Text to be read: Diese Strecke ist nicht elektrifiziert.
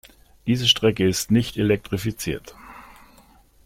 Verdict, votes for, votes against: accepted, 2, 0